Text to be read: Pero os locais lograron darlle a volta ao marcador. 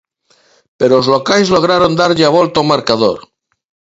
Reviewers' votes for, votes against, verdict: 2, 0, accepted